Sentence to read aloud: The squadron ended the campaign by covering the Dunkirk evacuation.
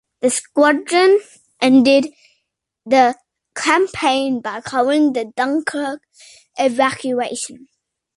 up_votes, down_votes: 2, 1